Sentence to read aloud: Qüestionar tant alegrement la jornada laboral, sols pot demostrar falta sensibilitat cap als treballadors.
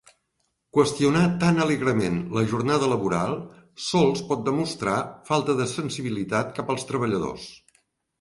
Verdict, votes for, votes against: rejected, 0, 2